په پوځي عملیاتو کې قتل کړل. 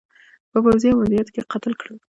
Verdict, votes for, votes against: accepted, 2, 0